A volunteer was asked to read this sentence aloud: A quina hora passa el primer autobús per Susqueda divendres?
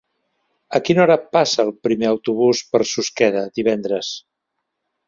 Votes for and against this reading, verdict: 2, 0, accepted